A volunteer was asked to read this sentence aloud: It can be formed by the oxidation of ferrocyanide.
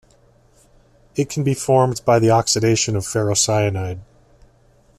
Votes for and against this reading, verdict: 2, 0, accepted